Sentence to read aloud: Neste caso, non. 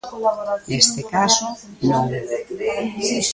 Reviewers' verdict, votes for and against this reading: rejected, 0, 2